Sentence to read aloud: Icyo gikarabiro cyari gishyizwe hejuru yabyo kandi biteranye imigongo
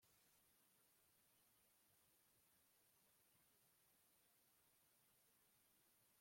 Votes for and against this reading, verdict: 0, 2, rejected